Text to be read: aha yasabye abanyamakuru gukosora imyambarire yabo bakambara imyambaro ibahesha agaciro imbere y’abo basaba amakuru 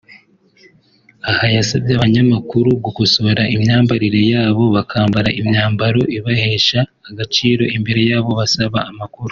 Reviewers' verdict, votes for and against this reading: accepted, 2, 1